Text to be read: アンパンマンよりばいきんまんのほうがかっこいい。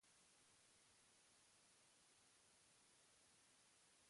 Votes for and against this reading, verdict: 0, 2, rejected